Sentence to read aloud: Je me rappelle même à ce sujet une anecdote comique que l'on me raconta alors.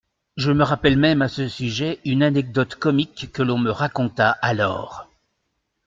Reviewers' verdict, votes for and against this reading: accepted, 2, 0